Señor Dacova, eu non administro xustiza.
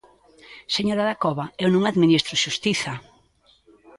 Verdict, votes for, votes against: rejected, 0, 2